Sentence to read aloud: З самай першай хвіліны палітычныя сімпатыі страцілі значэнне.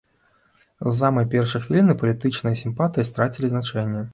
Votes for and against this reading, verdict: 2, 1, accepted